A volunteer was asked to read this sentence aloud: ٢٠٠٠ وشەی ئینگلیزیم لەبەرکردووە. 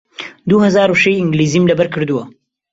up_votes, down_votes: 0, 2